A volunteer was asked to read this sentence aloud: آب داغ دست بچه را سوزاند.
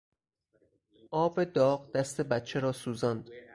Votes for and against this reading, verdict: 4, 0, accepted